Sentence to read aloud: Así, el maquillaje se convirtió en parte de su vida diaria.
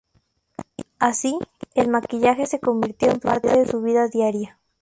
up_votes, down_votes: 0, 2